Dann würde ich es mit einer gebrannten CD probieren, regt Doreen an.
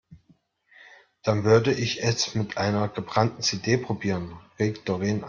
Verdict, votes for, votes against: rejected, 0, 2